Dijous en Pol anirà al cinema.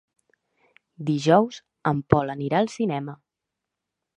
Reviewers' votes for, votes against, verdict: 3, 0, accepted